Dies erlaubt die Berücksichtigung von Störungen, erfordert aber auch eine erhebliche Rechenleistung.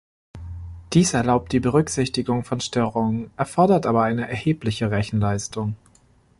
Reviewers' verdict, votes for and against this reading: rejected, 1, 2